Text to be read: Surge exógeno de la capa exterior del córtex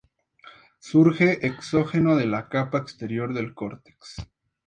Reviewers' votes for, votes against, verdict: 2, 0, accepted